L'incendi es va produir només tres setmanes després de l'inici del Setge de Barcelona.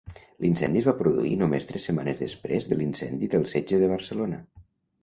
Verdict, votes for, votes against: rejected, 1, 2